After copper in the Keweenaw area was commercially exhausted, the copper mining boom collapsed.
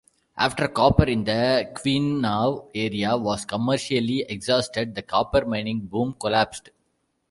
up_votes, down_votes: 0, 2